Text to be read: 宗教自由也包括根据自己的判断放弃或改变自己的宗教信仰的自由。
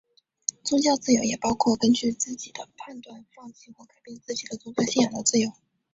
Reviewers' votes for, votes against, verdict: 0, 2, rejected